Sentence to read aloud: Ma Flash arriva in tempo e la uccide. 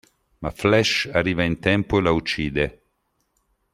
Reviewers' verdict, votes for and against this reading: accepted, 2, 0